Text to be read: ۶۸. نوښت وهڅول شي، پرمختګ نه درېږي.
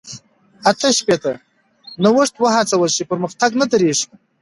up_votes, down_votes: 0, 2